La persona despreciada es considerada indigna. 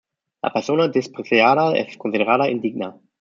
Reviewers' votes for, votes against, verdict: 0, 2, rejected